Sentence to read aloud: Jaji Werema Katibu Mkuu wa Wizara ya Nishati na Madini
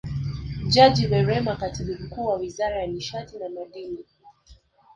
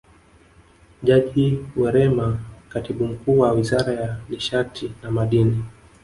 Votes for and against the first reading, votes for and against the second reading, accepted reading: 2, 0, 1, 2, first